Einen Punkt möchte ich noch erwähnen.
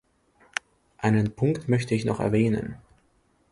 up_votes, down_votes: 2, 0